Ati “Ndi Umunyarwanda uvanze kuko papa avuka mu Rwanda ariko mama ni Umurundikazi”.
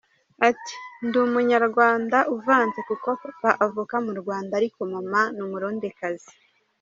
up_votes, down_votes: 0, 2